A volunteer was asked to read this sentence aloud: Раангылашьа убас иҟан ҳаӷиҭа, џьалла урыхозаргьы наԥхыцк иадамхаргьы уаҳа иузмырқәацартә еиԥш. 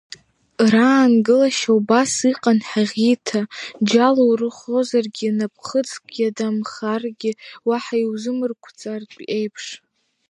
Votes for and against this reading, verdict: 1, 2, rejected